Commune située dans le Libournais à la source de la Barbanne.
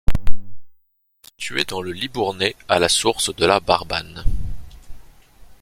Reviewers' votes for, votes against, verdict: 1, 2, rejected